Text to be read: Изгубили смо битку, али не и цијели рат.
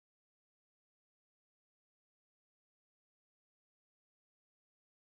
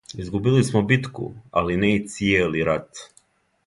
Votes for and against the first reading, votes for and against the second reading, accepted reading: 0, 2, 2, 0, second